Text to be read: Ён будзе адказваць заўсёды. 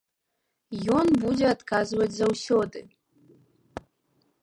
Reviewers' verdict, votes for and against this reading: accepted, 2, 0